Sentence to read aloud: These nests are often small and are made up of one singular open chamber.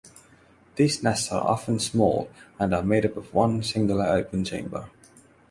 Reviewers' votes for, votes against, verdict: 6, 0, accepted